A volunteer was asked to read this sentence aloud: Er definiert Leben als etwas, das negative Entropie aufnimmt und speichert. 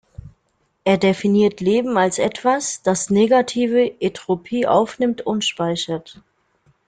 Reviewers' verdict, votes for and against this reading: rejected, 1, 2